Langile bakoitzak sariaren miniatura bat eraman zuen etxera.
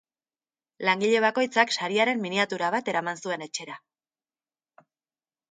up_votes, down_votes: 2, 0